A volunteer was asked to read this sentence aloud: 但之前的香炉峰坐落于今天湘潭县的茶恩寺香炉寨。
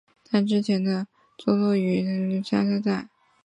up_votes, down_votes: 3, 0